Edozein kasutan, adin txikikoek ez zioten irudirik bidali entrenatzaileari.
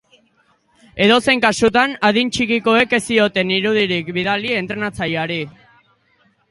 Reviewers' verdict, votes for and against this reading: accepted, 2, 0